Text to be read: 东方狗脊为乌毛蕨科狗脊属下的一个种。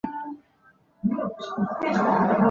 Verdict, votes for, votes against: rejected, 0, 2